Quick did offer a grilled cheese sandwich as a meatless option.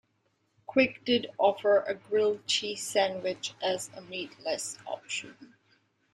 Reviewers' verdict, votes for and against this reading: accepted, 2, 1